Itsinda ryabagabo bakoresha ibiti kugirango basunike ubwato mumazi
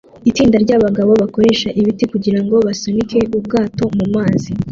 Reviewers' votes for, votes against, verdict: 2, 0, accepted